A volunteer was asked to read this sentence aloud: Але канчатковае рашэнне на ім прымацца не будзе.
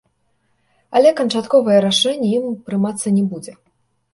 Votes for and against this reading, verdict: 0, 2, rejected